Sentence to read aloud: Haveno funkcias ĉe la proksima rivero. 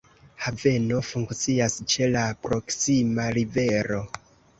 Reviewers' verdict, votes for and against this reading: accepted, 2, 0